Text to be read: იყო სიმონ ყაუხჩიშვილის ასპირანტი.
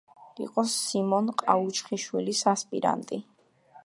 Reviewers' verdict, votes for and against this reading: accepted, 2, 0